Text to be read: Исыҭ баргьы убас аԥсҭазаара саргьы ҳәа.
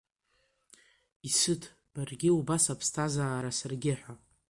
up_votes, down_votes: 2, 0